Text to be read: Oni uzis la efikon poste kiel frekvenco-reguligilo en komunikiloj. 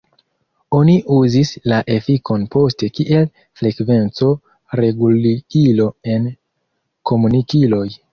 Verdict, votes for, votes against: rejected, 1, 2